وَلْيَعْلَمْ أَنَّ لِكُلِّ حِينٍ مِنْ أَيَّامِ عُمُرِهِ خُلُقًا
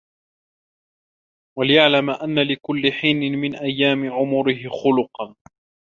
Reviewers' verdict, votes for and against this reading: accepted, 2, 0